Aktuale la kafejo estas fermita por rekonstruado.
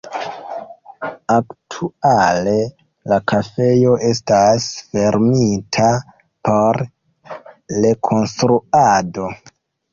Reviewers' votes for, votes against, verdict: 1, 2, rejected